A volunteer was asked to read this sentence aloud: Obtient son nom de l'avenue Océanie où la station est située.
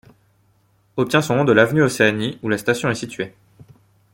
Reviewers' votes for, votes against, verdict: 2, 0, accepted